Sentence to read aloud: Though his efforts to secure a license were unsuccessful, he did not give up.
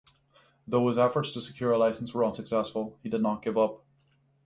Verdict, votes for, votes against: accepted, 6, 0